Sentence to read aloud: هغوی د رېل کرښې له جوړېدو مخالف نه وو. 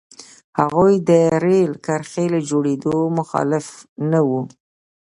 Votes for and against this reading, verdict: 2, 0, accepted